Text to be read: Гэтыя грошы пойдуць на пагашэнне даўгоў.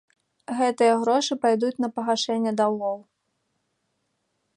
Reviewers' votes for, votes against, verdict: 0, 2, rejected